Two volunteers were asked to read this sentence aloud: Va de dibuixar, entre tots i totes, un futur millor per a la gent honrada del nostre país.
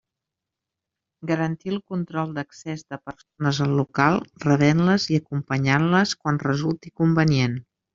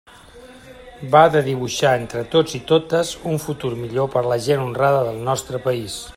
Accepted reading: second